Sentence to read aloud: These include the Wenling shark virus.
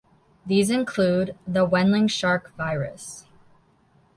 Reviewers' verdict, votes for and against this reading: accepted, 2, 0